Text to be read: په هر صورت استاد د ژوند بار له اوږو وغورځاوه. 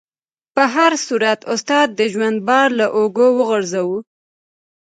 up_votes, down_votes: 0, 2